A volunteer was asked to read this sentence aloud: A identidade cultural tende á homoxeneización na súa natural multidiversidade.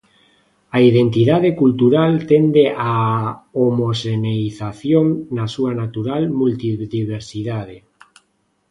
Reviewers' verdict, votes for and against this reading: accepted, 2, 0